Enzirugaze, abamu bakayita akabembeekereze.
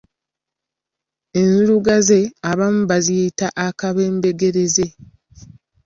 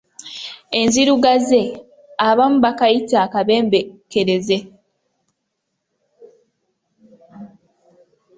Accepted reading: second